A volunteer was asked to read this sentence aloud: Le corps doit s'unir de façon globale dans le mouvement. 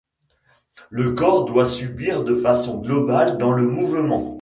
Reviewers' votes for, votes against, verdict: 1, 2, rejected